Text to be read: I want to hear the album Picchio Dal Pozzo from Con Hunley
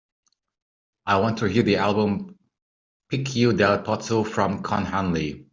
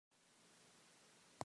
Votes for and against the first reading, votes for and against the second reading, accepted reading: 2, 1, 0, 2, first